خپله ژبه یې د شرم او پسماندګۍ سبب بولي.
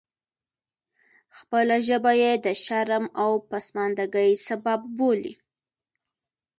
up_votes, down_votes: 2, 0